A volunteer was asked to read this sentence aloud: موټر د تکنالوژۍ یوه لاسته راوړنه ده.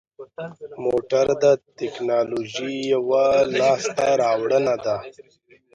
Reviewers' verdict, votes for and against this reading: rejected, 1, 2